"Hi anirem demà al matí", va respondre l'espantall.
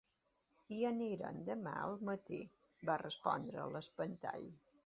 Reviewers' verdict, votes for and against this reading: accepted, 2, 0